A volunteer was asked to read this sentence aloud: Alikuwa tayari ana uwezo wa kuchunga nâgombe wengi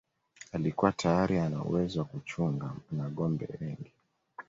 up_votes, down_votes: 2, 1